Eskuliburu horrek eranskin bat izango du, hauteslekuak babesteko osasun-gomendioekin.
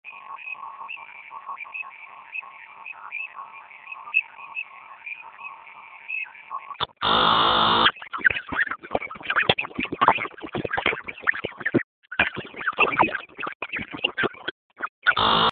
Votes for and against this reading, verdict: 0, 10, rejected